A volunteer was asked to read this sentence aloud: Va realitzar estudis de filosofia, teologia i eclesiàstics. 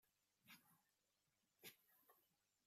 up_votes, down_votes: 0, 2